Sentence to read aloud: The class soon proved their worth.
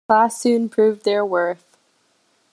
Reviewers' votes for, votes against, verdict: 0, 2, rejected